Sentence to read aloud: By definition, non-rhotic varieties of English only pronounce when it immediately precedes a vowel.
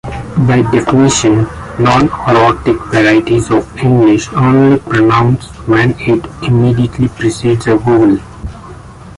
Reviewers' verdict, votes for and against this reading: rejected, 0, 2